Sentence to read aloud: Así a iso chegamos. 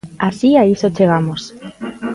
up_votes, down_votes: 1, 2